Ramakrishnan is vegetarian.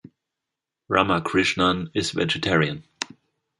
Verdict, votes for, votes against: accepted, 2, 0